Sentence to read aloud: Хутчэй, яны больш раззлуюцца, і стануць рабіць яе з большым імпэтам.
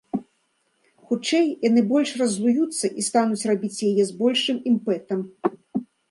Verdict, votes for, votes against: accepted, 2, 1